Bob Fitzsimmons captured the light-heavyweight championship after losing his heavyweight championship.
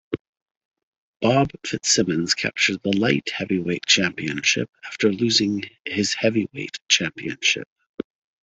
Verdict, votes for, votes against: accepted, 2, 0